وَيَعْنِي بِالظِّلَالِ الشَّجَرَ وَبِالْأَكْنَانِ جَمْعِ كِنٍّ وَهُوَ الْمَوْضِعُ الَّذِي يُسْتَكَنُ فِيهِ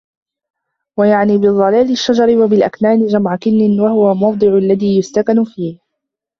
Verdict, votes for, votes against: rejected, 0, 2